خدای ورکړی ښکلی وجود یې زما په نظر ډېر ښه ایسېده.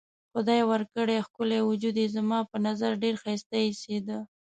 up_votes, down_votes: 0, 2